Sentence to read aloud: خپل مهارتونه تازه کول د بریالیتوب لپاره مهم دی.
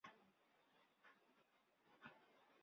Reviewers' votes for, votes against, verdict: 1, 3, rejected